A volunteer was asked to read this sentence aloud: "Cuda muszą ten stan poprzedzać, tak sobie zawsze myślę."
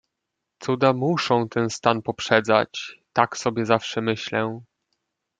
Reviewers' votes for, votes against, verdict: 2, 0, accepted